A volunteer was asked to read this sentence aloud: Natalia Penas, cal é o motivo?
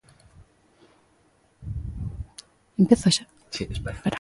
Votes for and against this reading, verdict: 0, 2, rejected